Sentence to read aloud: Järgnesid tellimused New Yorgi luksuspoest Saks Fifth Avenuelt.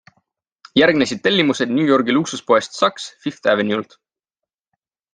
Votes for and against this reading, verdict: 2, 0, accepted